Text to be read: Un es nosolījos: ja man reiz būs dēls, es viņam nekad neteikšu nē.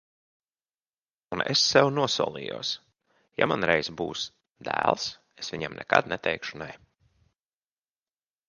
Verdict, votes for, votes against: rejected, 0, 2